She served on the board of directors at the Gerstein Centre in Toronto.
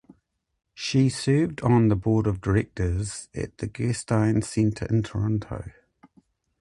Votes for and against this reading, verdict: 2, 0, accepted